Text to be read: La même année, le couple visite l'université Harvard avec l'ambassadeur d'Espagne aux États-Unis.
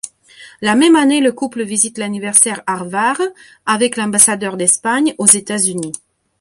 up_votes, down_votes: 0, 2